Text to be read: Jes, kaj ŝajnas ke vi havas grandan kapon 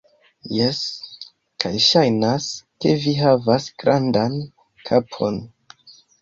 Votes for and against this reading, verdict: 2, 0, accepted